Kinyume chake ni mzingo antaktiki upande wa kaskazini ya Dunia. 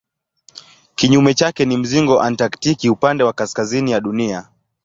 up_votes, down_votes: 2, 0